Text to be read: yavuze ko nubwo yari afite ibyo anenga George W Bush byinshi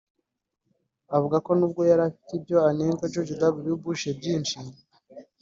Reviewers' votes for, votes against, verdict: 2, 1, accepted